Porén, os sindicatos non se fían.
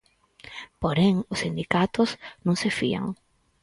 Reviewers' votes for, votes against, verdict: 4, 0, accepted